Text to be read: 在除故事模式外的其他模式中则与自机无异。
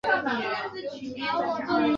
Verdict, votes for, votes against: rejected, 1, 2